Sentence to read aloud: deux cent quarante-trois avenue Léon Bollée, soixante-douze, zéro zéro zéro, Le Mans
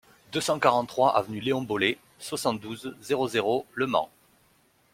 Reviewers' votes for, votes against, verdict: 0, 2, rejected